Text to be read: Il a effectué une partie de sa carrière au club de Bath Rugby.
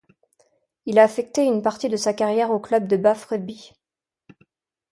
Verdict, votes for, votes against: rejected, 1, 2